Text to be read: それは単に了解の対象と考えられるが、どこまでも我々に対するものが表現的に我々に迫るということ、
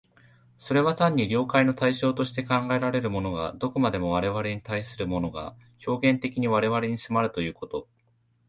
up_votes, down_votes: 1, 2